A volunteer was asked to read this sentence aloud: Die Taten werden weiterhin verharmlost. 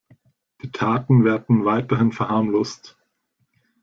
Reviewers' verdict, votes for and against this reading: accepted, 2, 0